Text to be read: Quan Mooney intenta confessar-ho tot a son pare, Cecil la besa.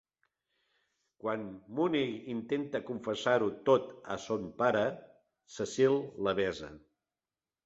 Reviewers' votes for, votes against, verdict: 2, 0, accepted